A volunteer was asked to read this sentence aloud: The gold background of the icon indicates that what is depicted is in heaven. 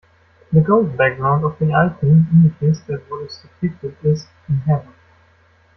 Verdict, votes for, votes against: rejected, 1, 2